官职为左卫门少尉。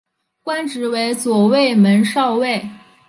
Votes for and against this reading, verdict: 2, 0, accepted